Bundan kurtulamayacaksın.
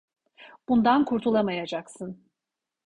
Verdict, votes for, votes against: accepted, 2, 0